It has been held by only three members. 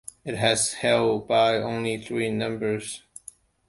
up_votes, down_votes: 0, 2